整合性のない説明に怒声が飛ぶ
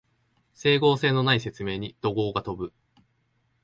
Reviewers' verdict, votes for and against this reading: accepted, 2, 1